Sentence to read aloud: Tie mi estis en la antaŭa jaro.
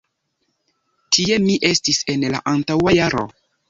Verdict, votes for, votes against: accepted, 2, 1